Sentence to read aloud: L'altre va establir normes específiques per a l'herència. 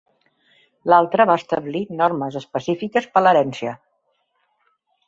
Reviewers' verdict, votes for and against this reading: rejected, 2, 3